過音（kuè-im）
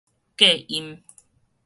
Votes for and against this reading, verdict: 2, 2, rejected